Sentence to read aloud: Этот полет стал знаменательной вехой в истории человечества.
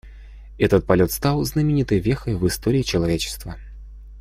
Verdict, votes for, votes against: rejected, 1, 2